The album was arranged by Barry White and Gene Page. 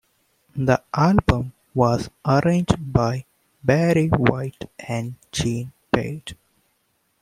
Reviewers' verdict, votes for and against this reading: accepted, 2, 0